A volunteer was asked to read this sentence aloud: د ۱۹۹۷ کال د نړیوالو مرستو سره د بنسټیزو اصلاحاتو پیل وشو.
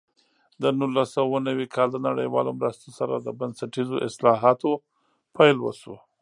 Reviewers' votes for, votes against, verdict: 0, 2, rejected